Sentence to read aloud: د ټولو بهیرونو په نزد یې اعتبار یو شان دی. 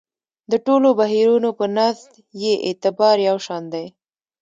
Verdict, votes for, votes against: accepted, 2, 0